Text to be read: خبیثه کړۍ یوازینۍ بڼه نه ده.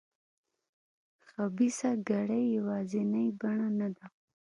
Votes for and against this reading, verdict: 1, 2, rejected